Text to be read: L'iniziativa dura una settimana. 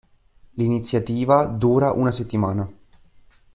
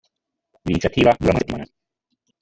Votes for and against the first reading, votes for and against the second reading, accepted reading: 2, 0, 1, 2, first